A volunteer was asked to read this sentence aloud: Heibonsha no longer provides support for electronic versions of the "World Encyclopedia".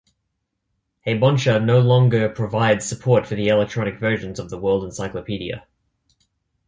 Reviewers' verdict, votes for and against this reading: accepted, 2, 0